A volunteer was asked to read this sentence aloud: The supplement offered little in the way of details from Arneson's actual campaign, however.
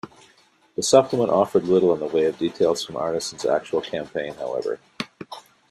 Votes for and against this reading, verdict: 2, 0, accepted